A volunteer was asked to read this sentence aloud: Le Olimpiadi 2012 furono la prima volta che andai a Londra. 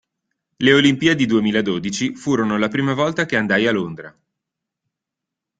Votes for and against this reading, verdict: 0, 2, rejected